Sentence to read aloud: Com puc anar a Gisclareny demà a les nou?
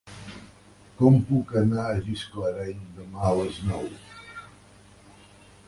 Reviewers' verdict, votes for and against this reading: accepted, 2, 0